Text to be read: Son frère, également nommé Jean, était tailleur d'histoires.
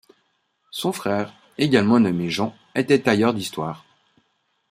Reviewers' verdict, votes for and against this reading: accepted, 2, 0